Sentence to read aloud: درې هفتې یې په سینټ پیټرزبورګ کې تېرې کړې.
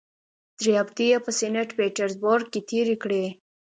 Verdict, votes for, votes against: accepted, 2, 0